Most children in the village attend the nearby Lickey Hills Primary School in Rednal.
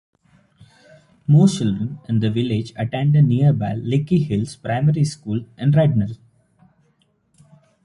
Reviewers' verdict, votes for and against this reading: rejected, 0, 2